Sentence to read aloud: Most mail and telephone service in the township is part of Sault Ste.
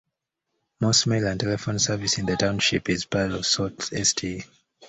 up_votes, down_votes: 2, 0